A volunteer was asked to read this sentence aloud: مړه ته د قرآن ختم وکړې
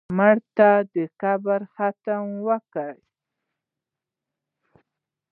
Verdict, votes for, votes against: rejected, 0, 2